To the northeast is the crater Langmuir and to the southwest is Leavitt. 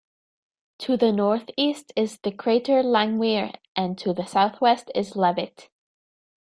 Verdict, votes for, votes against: accepted, 2, 0